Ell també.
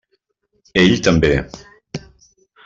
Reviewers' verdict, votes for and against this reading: accepted, 3, 0